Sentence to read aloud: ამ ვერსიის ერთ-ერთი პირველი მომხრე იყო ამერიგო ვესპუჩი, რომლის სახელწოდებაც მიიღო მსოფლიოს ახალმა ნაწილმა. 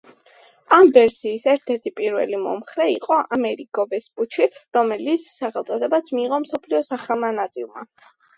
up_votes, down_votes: 2, 1